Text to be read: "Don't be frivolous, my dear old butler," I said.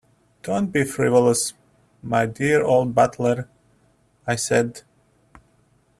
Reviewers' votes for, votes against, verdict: 2, 0, accepted